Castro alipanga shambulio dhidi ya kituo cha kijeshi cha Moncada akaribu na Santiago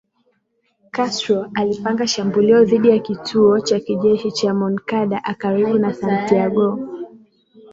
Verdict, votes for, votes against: accepted, 2, 0